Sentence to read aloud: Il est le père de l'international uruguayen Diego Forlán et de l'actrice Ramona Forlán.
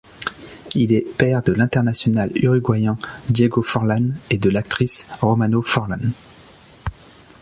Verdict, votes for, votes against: rejected, 0, 2